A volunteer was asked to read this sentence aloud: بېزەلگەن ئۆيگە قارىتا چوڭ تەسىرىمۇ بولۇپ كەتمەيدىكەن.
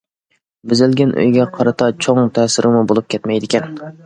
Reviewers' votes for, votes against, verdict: 2, 0, accepted